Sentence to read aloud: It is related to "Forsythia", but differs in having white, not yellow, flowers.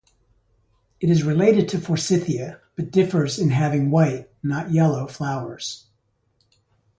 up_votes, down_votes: 2, 0